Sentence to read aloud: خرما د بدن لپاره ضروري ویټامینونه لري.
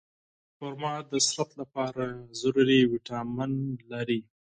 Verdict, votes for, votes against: rejected, 0, 8